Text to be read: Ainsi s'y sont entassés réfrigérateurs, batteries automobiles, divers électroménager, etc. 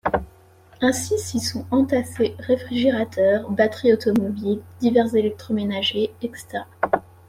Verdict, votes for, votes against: accepted, 2, 0